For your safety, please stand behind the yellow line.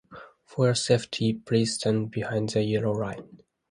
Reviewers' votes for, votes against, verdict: 2, 1, accepted